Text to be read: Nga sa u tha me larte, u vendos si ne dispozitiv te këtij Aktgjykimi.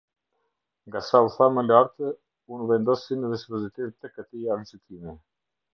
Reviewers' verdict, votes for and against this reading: rejected, 1, 2